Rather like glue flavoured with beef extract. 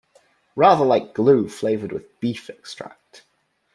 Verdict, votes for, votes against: accepted, 2, 0